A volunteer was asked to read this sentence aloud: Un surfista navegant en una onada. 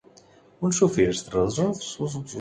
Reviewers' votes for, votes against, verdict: 0, 2, rejected